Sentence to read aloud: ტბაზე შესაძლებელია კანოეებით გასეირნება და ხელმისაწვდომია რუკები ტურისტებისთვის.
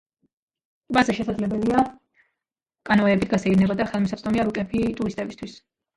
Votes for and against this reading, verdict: 0, 2, rejected